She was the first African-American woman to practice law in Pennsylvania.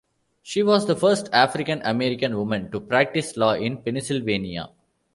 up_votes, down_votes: 2, 1